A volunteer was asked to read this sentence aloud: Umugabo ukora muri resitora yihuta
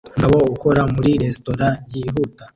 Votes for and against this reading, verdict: 0, 2, rejected